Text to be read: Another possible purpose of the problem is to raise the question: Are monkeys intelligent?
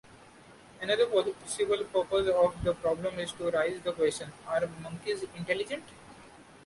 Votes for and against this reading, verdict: 0, 2, rejected